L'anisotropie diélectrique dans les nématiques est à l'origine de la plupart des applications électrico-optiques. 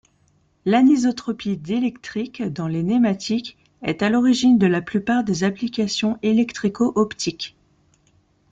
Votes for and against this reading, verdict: 2, 0, accepted